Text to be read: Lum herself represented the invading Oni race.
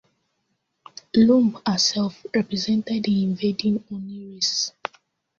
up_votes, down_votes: 1, 2